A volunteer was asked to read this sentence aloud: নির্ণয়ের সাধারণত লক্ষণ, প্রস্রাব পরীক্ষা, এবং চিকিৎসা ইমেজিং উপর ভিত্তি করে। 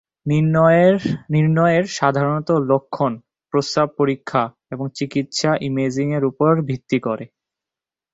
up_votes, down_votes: 1, 3